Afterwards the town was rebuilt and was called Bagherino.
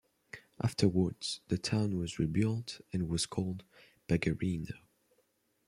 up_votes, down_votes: 2, 0